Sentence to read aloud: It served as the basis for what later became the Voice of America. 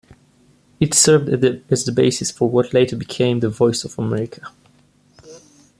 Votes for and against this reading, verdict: 0, 2, rejected